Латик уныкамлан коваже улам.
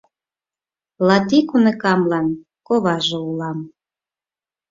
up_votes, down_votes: 4, 0